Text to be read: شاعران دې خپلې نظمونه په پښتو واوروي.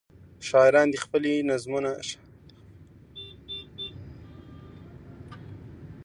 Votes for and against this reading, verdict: 1, 2, rejected